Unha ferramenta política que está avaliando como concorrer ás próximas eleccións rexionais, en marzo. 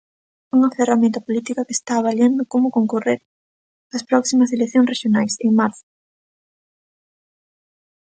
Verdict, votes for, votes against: accepted, 2, 0